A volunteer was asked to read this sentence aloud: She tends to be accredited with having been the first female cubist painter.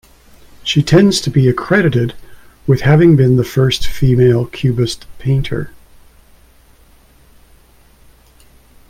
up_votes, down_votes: 2, 0